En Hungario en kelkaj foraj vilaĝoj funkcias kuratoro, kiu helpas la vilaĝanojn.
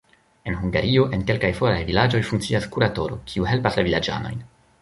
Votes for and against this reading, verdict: 1, 2, rejected